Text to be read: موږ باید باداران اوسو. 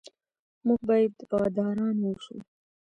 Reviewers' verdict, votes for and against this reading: rejected, 1, 2